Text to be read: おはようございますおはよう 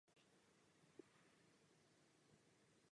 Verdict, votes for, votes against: rejected, 0, 2